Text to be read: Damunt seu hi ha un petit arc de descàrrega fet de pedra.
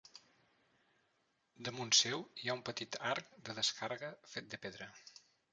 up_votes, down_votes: 0, 2